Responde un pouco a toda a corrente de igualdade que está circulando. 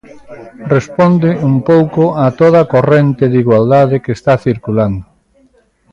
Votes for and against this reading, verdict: 2, 1, accepted